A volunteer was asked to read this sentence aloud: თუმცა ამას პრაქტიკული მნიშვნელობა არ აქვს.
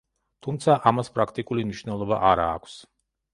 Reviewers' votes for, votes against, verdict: 0, 2, rejected